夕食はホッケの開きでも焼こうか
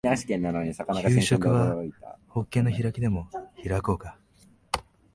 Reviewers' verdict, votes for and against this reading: rejected, 0, 2